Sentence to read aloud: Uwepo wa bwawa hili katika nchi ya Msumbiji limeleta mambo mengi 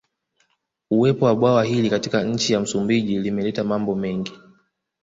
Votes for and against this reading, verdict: 2, 0, accepted